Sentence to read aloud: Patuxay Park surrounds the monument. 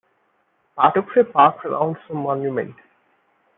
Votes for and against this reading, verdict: 1, 2, rejected